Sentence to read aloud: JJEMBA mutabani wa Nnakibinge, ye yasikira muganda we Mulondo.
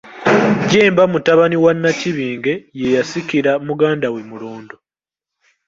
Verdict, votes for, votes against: accepted, 2, 1